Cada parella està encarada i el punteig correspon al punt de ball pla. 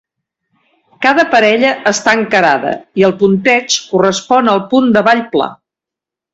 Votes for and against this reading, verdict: 2, 0, accepted